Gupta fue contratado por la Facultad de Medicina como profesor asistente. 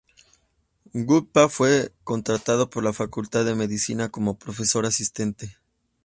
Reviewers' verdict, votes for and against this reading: accepted, 2, 0